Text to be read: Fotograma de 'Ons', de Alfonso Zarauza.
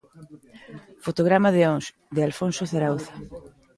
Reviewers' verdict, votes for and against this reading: rejected, 1, 2